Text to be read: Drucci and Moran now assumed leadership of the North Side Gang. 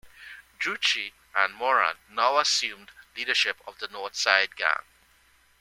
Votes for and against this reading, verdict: 2, 0, accepted